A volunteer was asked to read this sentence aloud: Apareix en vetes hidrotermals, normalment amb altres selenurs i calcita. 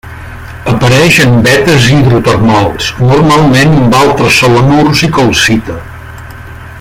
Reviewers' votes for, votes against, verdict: 0, 2, rejected